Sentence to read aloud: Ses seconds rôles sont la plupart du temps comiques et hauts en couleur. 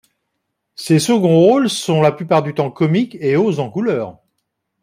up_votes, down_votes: 2, 0